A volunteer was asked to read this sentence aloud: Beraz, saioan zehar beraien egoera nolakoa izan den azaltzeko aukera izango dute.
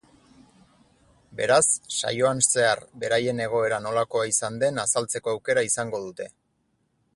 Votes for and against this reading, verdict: 4, 0, accepted